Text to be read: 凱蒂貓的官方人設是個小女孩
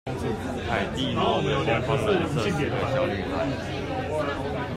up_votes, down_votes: 1, 2